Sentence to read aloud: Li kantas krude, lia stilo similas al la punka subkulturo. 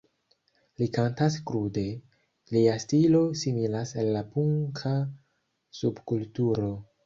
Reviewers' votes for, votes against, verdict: 1, 2, rejected